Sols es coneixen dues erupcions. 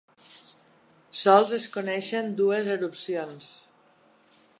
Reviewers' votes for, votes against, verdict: 2, 0, accepted